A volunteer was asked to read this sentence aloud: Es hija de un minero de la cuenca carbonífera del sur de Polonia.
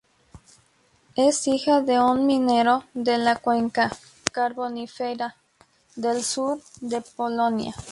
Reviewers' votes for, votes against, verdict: 4, 0, accepted